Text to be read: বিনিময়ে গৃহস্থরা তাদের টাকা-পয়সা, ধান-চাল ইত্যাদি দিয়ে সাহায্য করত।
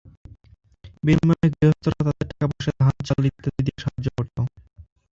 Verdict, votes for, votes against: rejected, 0, 2